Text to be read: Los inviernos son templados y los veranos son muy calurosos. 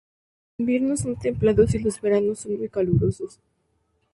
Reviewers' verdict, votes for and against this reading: rejected, 0, 2